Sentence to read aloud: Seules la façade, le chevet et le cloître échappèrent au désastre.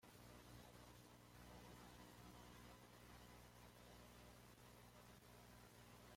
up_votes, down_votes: 1, 2